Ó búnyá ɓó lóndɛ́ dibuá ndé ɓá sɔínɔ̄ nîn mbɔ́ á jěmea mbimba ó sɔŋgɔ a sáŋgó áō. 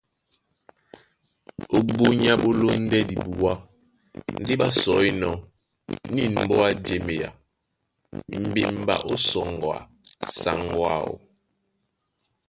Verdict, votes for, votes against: rejected, 0, 2